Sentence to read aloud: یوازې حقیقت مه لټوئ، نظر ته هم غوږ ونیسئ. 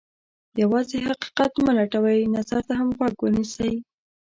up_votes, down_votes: 2, 0